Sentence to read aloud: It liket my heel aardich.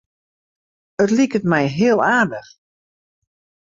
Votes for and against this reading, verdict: 2, 0, accepted